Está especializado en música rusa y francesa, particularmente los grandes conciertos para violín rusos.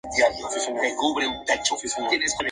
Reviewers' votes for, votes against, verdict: 0, 2, rejected